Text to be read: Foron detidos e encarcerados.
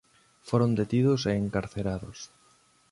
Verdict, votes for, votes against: accepted, 2, 0